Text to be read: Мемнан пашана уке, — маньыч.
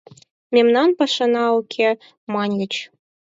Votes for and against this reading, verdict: 4, 0, accepted